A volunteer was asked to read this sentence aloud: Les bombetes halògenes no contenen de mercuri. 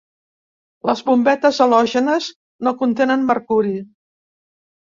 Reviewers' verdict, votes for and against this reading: rejected, 0, 2